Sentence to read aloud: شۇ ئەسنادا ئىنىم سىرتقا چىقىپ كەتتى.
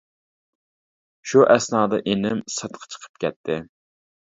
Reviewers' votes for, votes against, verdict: 2, 0, accepted